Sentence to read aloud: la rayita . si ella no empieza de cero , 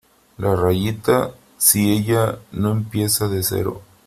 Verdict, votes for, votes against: accepted, 2, 1